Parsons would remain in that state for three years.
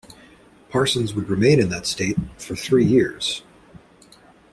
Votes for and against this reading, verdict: 2, 0, accepted